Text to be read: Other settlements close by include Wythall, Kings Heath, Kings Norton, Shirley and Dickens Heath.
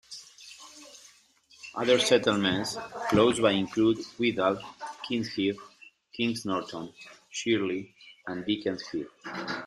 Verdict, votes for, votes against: rejected, 1, 2